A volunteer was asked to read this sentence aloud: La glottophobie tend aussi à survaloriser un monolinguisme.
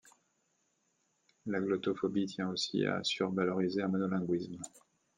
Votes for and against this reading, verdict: 0, 2, rejected